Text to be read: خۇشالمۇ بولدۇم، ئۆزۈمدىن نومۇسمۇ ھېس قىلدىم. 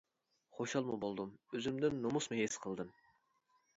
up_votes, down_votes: 2, 0